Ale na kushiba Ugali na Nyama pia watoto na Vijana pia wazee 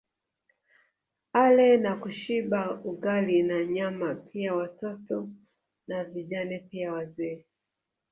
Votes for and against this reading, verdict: 2, 0, accepted